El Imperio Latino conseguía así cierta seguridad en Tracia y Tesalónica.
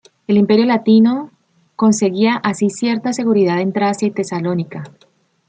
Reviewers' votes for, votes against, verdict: 2, 0, accepted